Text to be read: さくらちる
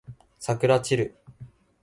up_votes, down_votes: 2, 0